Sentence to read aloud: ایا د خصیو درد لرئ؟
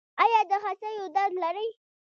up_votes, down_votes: 0, 2